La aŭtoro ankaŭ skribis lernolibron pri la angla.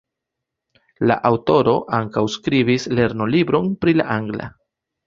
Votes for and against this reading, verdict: 2, 0, accepted